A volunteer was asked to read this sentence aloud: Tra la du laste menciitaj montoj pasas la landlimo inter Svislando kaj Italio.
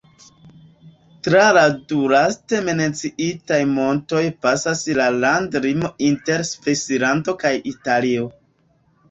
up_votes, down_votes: 1, 3